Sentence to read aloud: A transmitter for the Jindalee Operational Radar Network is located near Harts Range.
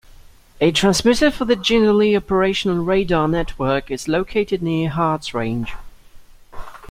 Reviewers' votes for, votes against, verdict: 2, 0, accepted